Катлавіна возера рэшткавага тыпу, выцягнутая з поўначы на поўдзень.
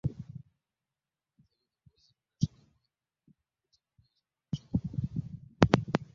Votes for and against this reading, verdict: 0, 2, rejected